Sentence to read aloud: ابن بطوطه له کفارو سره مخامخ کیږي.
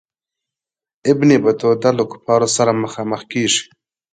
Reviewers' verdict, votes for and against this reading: accepted, 2, 0